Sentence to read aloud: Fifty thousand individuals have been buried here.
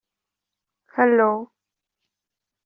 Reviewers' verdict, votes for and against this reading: rejected, 0, 2